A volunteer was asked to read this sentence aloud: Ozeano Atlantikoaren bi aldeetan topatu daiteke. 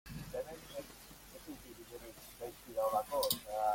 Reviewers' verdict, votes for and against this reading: rejected, 0, 2